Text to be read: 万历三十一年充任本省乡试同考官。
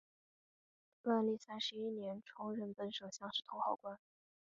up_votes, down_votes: 3, 0